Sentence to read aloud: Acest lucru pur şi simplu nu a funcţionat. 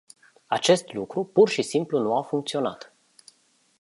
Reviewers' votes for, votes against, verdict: 2, 2, rejected